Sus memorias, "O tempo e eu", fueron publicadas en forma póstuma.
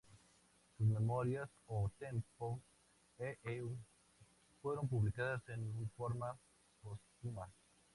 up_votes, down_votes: 0, 2